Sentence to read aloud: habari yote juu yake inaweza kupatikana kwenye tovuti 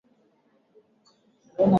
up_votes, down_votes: 0, 2